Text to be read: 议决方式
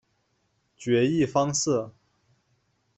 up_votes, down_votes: 0, 2